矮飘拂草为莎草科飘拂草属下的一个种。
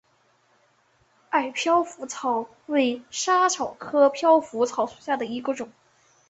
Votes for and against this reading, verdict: 3, 2, accepted